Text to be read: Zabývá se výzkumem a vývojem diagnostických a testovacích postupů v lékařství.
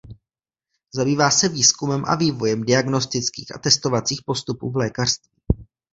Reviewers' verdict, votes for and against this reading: rejected, 1, 2